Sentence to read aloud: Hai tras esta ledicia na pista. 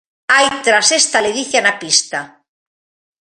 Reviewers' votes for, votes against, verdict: 2, 0, accepted